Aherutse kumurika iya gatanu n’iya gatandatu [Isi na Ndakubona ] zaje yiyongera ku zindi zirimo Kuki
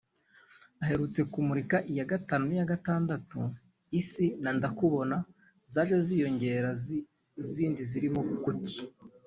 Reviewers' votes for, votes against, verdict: 0, 2, rejected